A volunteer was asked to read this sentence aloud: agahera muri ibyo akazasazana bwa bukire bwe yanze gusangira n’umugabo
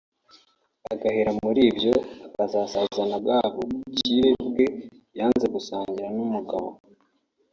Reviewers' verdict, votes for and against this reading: accepted, 2, 0